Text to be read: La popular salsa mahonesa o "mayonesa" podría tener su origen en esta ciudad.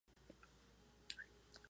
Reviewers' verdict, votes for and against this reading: rejected, 0, 2